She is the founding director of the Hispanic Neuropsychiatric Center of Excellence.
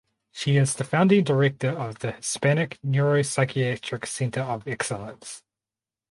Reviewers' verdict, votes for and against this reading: accepted, 4, 0